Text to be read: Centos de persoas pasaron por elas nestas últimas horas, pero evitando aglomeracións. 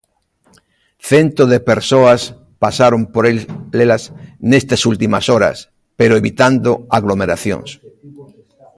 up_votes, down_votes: 0, 2